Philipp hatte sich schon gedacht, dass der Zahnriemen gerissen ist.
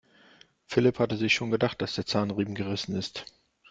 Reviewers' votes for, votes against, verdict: 2, 1, accepted